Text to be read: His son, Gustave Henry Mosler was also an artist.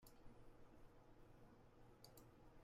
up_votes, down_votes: 0, 2